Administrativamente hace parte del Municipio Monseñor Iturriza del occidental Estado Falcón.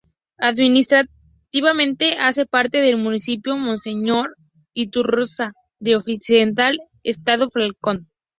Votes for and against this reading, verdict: 2, 4, rejected